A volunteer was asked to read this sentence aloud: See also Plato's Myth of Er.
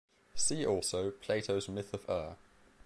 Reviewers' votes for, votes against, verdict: 0, 2, rejected